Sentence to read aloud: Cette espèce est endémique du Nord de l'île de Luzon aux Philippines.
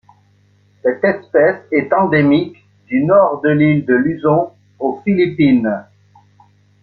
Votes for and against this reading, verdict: 1, 2, rejected